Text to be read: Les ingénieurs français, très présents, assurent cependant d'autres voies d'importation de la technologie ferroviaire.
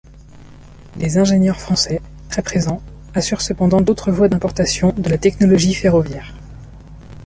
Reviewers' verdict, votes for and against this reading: rejected, 0, 2